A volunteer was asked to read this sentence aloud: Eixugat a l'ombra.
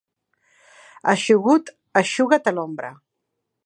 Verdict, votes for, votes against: rejected, 2, 3